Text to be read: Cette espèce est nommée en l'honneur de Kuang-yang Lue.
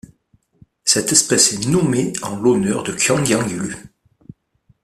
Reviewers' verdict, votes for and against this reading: accepted, 2, 0